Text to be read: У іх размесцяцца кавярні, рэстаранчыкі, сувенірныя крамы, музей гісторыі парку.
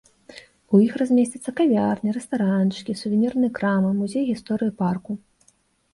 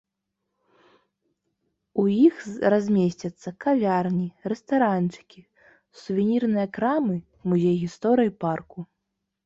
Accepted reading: first